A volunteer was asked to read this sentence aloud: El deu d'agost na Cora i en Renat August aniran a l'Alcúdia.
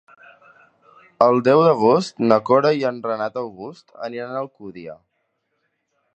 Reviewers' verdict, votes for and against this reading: rejected, 2, 3